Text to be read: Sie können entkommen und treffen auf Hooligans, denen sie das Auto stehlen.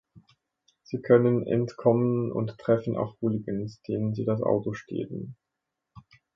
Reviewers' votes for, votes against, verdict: 0, 2, rejected